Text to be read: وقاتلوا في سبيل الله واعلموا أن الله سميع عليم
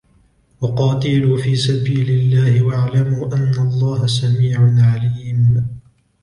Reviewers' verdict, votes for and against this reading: accepted, 2, 0